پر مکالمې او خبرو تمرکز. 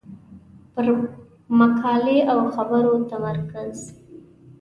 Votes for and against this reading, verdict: 1, 2, rejected